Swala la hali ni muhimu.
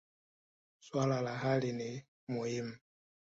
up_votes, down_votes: 2, 0